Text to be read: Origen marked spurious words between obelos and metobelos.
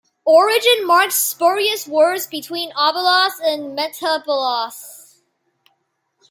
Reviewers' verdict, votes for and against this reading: rejected, 0, 2